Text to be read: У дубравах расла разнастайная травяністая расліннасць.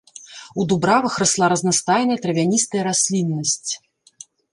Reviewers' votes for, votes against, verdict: 0, 2, rejected